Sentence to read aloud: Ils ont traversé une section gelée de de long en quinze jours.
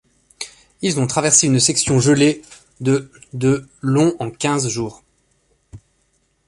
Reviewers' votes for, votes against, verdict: 2, 0, accepted